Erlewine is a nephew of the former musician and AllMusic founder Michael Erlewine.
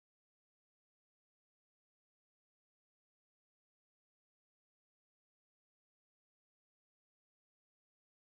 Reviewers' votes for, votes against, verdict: 0, 2, rejected